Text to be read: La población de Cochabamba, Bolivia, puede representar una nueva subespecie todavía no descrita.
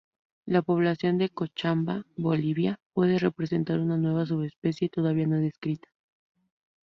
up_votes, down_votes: 0, 2